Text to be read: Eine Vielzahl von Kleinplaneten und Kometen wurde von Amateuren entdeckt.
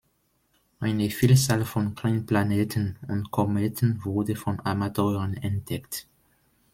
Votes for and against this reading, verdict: 1, 2, rejected